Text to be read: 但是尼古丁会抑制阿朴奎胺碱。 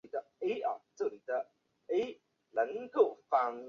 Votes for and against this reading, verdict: 5, 0, accepted